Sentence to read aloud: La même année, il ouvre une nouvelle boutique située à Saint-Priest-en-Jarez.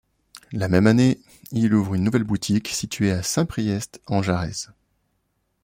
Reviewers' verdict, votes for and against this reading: accepted, 2, 1